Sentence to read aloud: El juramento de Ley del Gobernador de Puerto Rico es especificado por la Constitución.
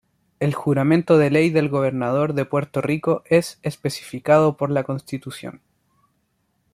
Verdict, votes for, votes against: accepted, 2, 0